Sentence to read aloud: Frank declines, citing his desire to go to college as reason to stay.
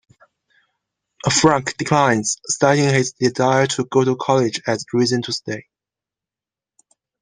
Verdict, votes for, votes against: accepted, 2, 0